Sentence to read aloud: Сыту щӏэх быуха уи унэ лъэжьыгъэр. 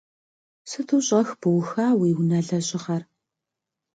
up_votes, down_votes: 2, 0